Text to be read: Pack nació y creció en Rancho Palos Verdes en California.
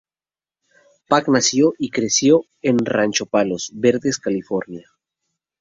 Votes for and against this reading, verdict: 0, 2, rejected